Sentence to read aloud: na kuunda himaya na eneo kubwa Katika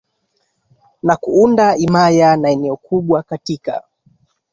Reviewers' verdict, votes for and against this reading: accepted, 2, 0